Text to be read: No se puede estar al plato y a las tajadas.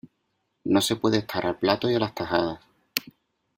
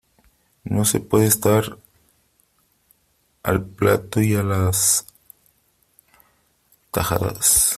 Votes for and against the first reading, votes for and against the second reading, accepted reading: 2, 1, 0, 2, first